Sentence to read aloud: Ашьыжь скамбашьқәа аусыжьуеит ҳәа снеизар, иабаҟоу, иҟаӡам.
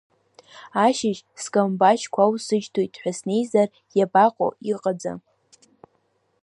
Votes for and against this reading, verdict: 1, 2, rejected